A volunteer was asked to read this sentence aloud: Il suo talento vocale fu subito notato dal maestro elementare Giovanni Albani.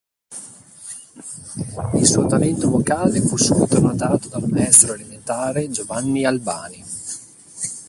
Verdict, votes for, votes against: rejected, 1, 2